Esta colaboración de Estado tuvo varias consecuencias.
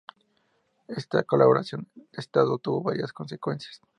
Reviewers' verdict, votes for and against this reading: accepted, 2, 0